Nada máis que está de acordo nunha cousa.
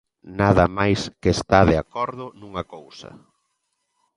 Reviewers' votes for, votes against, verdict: 2, 0, accepted